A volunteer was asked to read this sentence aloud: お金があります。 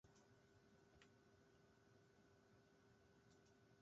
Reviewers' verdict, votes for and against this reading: rejected, 0, 2